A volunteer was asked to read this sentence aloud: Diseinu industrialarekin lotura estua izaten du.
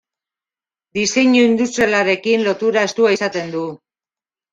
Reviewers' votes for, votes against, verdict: 2, 0, accepted